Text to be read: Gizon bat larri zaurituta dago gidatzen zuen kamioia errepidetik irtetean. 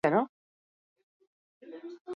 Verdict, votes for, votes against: rejected, 0, 2